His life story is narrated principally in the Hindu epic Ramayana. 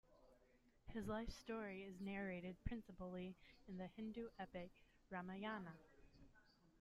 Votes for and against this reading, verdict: 1, 2, rejected